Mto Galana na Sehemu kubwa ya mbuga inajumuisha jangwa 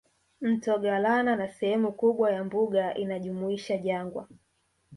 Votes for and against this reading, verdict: 2, 0, accepted